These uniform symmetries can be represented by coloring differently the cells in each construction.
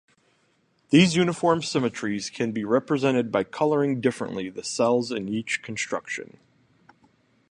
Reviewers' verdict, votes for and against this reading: rejected, 0, 2